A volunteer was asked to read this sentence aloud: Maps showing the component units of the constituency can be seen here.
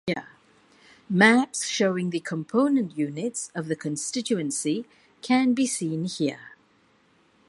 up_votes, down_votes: 2, 1